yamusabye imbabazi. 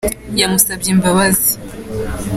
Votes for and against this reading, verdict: 2, 0, accepted